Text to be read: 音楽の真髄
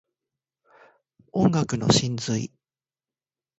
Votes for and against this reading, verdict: 2, 0, accepted